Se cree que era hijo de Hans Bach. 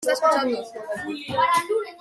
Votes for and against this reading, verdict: 0, 2, rejected